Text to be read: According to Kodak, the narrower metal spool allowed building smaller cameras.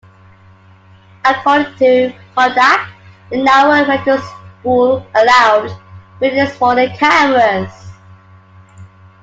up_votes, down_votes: 1, 2